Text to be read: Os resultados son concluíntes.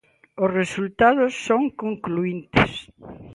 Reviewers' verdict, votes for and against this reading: accepted, 2, 0